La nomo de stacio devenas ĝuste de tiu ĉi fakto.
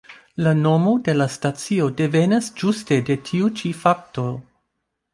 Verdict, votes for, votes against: rejected, 0, 2